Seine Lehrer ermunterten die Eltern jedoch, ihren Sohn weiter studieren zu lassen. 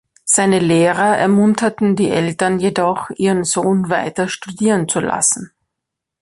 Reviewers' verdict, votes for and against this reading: accepted, 3, 0